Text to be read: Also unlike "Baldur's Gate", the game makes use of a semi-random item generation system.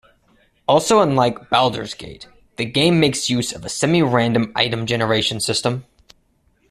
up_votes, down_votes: 2, 1